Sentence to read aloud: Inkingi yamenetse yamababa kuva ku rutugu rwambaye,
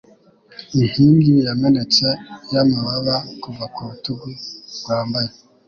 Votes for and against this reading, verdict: 2, 0, accepted